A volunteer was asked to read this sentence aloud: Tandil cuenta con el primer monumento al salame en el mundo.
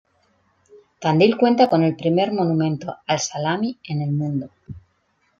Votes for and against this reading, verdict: 1, 2, rejected